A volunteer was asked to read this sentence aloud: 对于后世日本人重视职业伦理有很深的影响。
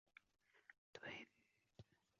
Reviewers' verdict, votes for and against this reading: rejected, 1, 2